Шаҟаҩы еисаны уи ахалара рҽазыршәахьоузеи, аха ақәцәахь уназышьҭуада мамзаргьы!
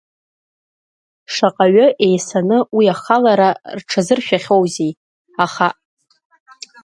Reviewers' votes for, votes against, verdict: 0, 2, rejected